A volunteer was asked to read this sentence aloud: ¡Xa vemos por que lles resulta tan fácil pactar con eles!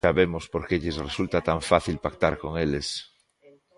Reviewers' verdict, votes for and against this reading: rejected, 0, 2